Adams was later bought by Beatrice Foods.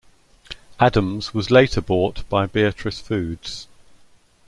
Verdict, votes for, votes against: accepted, 2, 0